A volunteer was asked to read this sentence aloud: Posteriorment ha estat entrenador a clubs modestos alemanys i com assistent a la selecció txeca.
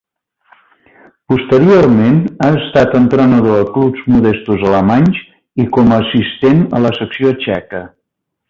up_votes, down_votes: 0, 2